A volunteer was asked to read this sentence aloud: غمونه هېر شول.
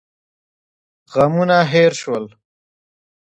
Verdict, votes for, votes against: accepted, 2, 0